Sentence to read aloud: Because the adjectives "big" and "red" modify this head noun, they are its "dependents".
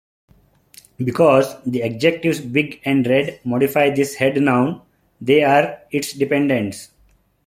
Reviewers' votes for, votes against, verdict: 2, 1, accepted